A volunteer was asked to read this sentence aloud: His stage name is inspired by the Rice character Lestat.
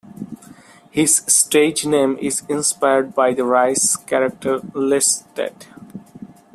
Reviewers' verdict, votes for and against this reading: rejected, 0, 2